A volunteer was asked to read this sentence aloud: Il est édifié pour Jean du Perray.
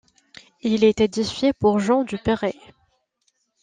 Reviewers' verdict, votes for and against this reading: accepted, 2, 0